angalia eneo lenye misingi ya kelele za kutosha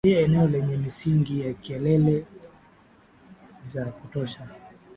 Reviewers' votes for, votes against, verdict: 0, 2, rejected